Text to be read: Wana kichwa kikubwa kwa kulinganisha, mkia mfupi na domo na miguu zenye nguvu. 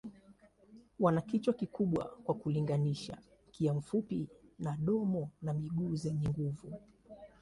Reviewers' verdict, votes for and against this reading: accepted, 2, 0